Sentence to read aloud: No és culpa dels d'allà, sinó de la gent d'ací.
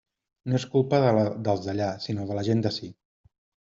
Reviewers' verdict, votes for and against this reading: rejected, 0, 2